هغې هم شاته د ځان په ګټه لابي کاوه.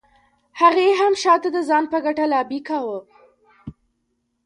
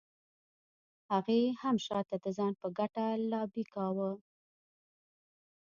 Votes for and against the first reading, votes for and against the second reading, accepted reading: 2, 1, 1, 2, first